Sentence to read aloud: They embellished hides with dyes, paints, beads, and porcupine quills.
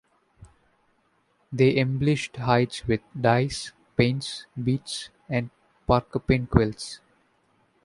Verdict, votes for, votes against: rejected, 0, 2